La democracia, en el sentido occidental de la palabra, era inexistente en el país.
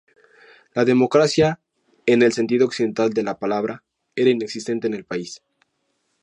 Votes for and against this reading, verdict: 2, 0, accepted